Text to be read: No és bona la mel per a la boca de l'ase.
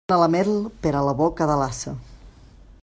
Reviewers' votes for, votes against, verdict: 0, 2, rejected